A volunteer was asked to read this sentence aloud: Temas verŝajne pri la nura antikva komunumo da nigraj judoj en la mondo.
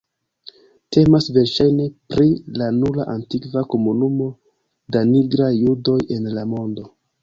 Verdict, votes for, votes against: accepted, 3, 0